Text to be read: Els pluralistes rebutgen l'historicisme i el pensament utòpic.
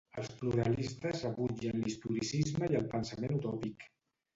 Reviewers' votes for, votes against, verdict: 2, 2, rejected